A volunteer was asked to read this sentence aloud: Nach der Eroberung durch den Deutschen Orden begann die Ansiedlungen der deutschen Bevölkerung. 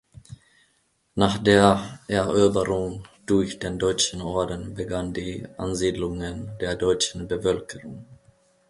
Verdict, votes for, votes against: rejected, 1, 2